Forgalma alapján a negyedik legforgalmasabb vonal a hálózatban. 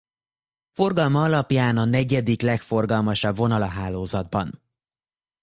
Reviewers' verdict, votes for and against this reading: accepted, 2, 0